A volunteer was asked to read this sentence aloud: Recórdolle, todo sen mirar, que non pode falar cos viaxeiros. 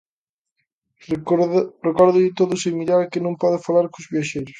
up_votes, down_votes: 0, 2